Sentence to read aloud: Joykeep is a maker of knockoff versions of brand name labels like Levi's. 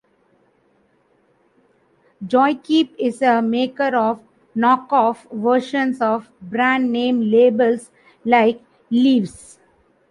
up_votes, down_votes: 0, 2